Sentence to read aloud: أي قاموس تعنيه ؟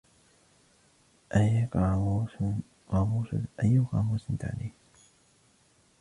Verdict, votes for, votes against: rejected, 0, 2